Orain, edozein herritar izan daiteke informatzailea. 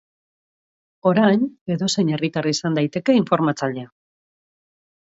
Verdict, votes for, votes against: accepted, 2, 0